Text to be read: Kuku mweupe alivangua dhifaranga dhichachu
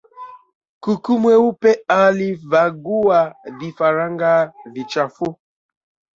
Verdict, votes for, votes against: rejected, 0, 2